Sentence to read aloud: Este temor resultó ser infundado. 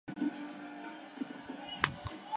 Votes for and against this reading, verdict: 0, 2, rejected